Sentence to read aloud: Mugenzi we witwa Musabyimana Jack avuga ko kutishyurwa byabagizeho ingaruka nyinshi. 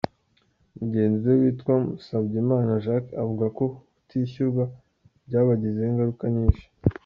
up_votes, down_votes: 2, 1